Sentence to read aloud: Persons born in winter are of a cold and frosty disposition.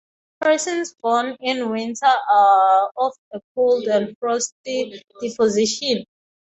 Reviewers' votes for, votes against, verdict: 0, 3, rejected